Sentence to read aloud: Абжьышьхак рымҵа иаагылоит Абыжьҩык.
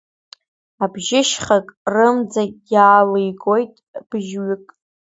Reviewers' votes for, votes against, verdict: 1, 2, rejected